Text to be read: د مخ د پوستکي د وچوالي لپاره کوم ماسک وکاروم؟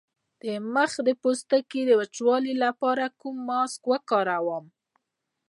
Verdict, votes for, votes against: accepted, 2, 0